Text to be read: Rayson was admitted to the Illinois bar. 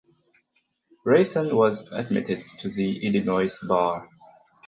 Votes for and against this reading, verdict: 2, 4, rejected